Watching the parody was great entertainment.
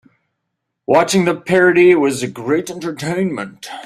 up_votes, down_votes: 0, 2